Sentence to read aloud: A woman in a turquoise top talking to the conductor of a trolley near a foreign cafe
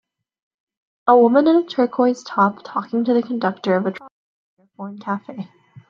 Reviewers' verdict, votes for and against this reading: rejected, 0, 2